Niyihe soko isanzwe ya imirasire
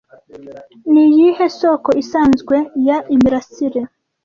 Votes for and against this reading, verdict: 2, 0, accepted